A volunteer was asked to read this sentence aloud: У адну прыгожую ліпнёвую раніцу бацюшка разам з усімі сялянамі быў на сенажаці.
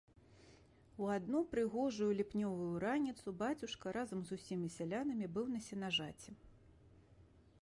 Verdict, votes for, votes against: accepted, 3, 0